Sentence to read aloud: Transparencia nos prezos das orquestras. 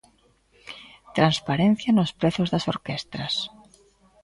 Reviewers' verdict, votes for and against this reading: accepted, 2, 0